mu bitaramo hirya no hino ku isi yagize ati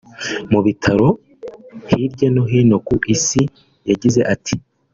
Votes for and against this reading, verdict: 0, 2, rejected